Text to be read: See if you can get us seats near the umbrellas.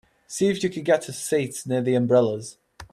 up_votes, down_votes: 4, 0